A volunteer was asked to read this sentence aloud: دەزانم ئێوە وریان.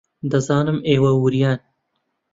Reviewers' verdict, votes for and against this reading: accepted, 2, 0